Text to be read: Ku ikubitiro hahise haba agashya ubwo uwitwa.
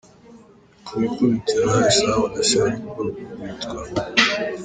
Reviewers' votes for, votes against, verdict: 0, 2, rejected